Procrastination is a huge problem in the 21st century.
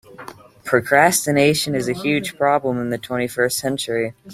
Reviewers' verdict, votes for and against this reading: rejected, 0, 2